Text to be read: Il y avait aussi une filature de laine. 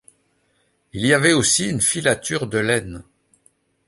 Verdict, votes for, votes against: accepted, 2, 0